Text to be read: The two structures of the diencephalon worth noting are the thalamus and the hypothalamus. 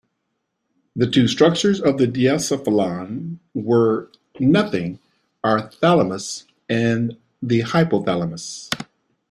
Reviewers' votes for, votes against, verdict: 0, 2, rejected